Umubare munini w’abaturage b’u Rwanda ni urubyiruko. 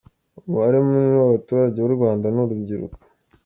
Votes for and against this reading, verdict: 2, 1, accepted